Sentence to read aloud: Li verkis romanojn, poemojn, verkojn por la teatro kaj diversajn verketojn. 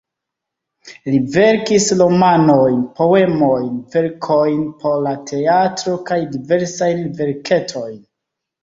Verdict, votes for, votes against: rejected, 0, 2